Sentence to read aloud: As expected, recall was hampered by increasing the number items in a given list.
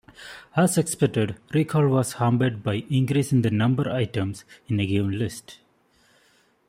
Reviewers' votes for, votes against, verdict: 2, 0, accepted